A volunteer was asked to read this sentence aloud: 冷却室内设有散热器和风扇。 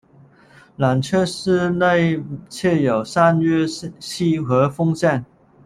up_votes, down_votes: 0, 2